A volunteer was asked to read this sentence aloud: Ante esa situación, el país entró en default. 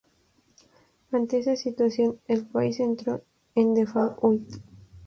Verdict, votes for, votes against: accepted, 2, 0